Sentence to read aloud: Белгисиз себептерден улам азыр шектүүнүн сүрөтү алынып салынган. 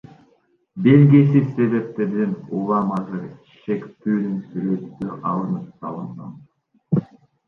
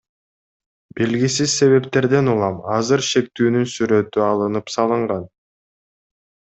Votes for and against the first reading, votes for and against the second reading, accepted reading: 0, 2, 2, 0, second